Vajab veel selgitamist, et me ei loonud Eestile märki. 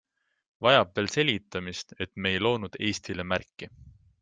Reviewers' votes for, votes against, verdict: 0, 2, rejected